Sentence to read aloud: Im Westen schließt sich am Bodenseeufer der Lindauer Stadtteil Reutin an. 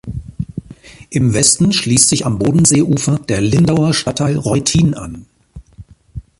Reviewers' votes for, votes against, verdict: 3, 1, accepted